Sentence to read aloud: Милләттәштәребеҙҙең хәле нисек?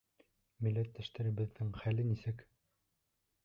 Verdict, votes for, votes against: accepted, 2, 0